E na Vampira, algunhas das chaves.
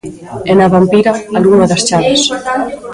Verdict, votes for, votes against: rejected, 0, 2